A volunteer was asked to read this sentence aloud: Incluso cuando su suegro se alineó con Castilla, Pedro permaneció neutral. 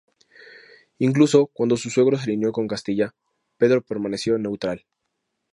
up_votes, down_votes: 2, 0